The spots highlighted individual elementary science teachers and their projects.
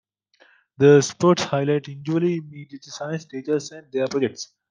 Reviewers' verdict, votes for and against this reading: rejected, 0, 2